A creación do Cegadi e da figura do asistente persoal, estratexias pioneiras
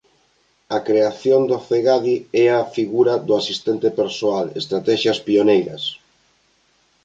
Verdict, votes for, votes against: rejected, 0, 2